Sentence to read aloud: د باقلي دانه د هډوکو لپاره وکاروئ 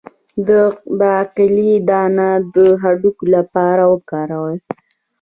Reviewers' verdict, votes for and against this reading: accepted, 2, 0